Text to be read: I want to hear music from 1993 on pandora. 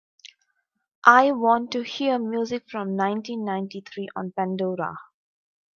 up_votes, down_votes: 0, 2